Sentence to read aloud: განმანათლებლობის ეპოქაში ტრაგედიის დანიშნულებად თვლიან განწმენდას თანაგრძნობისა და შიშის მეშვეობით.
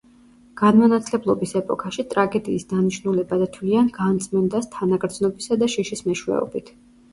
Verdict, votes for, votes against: accepted, 2, 0